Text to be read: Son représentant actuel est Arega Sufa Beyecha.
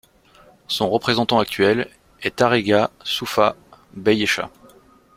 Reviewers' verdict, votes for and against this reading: accepted, 2, 0